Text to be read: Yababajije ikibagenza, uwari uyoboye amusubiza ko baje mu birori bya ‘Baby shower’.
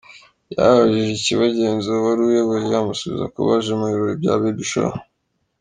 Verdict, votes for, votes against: rejected, 0, 2